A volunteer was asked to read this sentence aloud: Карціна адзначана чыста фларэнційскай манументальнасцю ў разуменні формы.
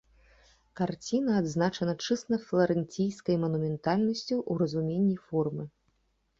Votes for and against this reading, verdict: 1, 2, rejected